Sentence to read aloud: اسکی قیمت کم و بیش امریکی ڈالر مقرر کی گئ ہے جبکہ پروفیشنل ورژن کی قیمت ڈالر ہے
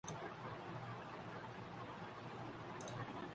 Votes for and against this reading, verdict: 3, 1, accepted